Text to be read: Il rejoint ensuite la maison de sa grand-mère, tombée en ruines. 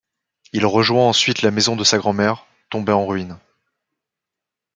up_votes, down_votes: 2, 0